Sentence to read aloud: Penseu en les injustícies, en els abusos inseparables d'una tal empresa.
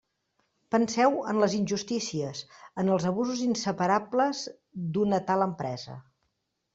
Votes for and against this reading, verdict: 3, 0, accepted